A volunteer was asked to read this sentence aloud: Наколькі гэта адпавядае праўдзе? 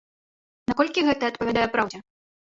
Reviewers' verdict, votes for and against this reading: rejected, 1, 2